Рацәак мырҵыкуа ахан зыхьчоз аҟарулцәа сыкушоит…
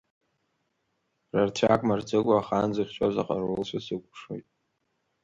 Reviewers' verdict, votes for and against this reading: rejected, 0, 3